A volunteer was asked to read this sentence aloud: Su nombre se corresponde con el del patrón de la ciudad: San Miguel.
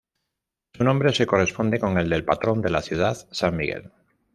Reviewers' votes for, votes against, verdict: 2, 0, accepted